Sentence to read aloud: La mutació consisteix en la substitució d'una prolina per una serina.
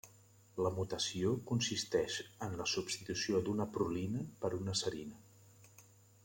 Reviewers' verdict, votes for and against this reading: accepted, 3, 0